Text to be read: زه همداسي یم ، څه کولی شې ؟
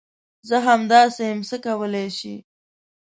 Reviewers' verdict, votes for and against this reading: accepted, 2, 0